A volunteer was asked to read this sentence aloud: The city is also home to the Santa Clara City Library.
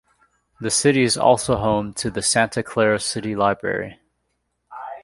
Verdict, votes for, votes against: rejected, 1, 2